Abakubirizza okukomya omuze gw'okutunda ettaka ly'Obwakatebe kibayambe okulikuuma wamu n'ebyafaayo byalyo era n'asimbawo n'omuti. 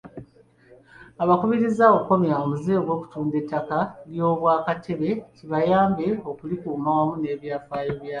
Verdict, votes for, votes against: rejected, 0, 2